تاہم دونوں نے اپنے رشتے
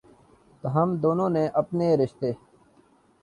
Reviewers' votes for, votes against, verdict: 2, 0, accepted